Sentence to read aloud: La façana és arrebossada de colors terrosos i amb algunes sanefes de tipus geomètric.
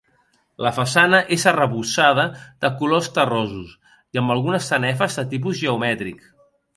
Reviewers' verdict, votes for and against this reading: accepted, 2, 0